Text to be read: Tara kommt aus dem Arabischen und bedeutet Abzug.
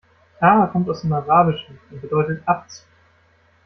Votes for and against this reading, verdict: 0, 2, rejected